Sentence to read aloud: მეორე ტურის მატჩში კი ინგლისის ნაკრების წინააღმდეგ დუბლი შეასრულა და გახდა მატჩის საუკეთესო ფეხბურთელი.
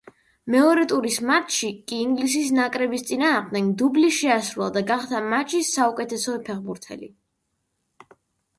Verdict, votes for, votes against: rejected, 0, 2